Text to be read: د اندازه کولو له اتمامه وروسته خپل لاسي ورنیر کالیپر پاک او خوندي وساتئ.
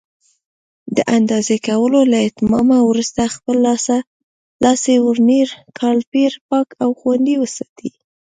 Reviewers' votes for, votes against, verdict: 1, 2, rejected